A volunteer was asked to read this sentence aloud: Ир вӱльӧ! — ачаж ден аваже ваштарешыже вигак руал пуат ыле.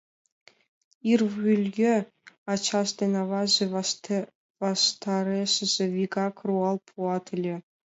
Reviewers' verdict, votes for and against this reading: rejected, 1, 2